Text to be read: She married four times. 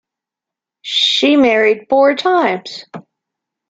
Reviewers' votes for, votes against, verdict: 2, 0, accepted